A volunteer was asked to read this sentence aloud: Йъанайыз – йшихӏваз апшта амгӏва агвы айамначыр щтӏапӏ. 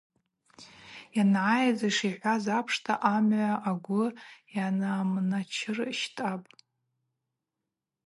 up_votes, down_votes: 4, 0